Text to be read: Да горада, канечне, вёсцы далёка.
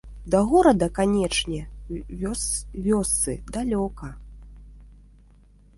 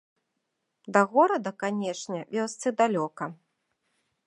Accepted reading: second